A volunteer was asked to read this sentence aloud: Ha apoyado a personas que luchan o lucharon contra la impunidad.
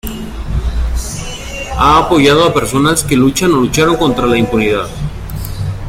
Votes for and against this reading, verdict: 0, 2, rejected